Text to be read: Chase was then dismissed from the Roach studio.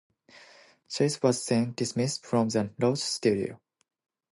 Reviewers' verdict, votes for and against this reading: accepted, 2, 1